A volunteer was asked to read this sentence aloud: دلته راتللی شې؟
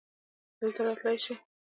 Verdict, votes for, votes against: rejected, 0, 2